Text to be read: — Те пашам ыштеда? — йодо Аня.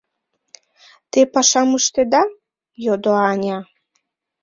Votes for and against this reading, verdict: 3, 1, accepted